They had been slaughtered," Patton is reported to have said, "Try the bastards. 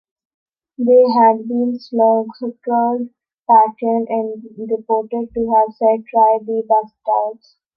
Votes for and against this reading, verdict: 0, 3, rejected